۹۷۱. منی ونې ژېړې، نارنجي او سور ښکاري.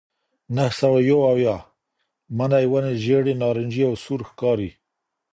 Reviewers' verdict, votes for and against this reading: rejected, 0, 2